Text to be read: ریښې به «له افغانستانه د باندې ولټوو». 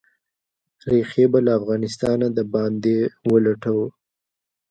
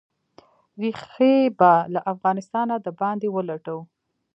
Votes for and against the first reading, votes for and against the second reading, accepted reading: 2, 1, 0, 2, first